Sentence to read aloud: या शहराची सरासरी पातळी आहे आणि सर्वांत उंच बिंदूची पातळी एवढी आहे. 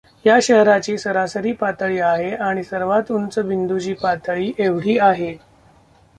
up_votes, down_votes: 2, 1